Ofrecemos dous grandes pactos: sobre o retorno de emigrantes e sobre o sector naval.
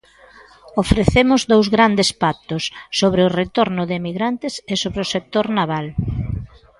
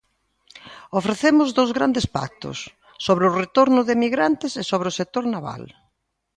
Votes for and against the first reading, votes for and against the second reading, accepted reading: 1, 2, 2, 0, second